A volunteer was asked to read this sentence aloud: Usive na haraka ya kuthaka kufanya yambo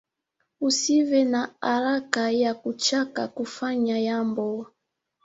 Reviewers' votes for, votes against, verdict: 0, 3, rejected